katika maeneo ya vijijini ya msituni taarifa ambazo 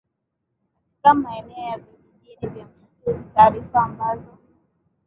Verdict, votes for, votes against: rejected, 0, 3